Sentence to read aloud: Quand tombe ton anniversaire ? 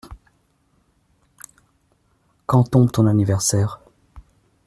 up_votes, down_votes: 0, 2